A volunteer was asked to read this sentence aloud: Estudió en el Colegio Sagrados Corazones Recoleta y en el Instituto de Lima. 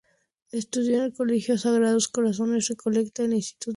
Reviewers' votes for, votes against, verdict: 0, 2, rejected